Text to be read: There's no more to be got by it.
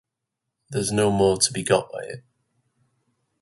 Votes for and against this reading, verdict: 2, 2, rejected